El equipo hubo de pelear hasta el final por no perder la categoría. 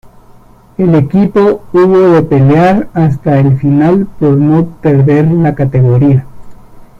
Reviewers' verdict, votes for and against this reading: rejected, 1, 2